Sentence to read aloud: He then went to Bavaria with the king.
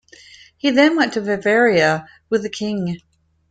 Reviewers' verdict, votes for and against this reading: accepted, 2, 0